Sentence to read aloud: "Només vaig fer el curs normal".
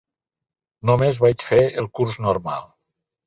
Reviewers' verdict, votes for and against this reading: accepted, 6, 0